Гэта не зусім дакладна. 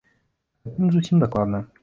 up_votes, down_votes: 1, 2